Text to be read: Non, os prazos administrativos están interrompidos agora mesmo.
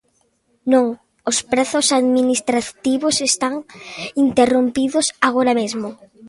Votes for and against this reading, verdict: 2, 0, accepted